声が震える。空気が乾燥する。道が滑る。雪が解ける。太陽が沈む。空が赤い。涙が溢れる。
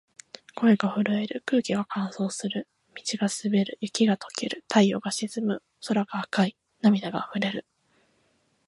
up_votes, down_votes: 2, 1